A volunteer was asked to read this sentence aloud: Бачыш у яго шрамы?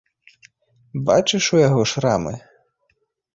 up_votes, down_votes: 2, 0